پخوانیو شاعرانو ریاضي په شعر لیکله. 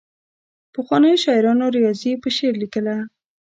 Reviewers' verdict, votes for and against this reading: rejected, 1, 2